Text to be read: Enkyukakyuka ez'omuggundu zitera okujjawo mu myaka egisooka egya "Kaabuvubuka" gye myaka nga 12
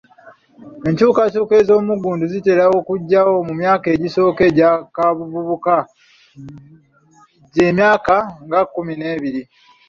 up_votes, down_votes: 0, 2